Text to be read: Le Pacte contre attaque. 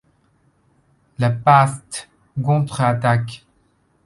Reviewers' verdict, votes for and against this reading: rejected, 0, 2